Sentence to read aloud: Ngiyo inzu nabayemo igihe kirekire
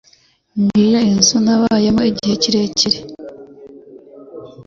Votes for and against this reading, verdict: 2, 0, accepted